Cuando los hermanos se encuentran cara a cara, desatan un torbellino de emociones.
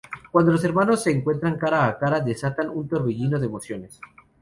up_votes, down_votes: 2, 0